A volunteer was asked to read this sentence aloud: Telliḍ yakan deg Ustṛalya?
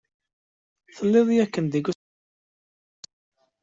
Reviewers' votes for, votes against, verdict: 0, 2, rejected